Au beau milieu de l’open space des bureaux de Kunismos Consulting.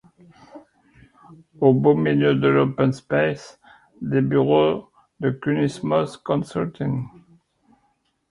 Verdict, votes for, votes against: accepted, 2, 0